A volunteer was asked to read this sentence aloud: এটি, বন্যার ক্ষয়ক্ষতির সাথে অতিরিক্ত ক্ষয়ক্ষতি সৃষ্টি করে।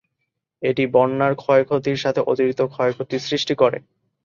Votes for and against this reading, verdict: 3, 0, accepted